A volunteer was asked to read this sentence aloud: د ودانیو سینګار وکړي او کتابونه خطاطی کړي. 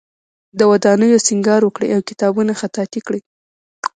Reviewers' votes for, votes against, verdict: 0, 2, rejected